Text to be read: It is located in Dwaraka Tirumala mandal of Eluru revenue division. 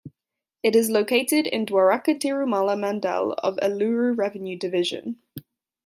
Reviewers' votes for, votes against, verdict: 2, 0, accepted